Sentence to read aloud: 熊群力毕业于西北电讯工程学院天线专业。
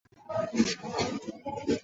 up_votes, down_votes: 2, 0